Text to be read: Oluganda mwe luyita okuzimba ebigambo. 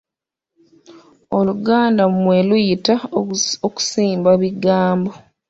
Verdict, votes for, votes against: rejected, 0, 2